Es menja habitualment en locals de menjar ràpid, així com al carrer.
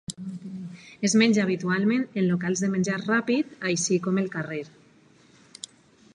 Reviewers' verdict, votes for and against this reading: accepted, 2, 1